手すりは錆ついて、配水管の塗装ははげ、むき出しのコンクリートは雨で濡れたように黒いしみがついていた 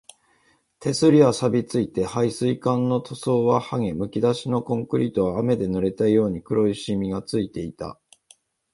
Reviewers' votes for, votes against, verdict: 2, 0, accepted